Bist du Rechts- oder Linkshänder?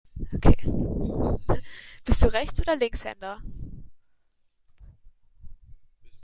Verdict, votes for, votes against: rejected, 1, 2